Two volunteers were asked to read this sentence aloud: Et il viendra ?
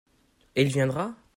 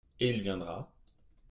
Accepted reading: first